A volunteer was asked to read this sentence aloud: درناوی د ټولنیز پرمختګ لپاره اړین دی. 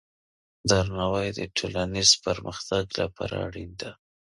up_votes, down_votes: 2, 0